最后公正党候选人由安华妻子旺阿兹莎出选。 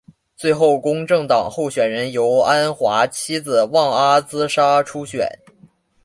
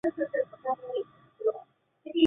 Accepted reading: first